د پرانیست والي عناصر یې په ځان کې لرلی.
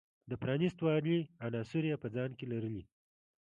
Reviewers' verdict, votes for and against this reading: accepted, 2, 0